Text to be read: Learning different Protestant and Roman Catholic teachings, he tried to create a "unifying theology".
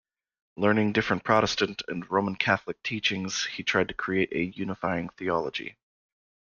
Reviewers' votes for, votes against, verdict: 2, 0, accepted